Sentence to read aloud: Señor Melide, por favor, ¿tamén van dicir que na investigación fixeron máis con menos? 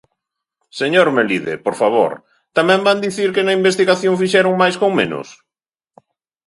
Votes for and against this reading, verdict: 2, 0, accepted